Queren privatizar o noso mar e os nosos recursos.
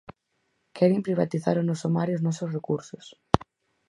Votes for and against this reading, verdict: 4, 0, accepted